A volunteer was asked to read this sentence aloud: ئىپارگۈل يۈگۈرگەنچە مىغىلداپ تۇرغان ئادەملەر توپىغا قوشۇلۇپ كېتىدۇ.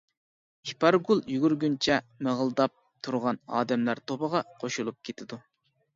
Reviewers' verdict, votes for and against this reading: rejected, 1, 2